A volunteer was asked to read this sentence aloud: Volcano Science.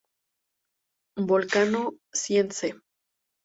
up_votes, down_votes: 0, 2